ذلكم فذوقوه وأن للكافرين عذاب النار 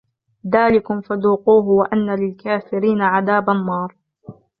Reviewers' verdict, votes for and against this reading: rejected, 1, 2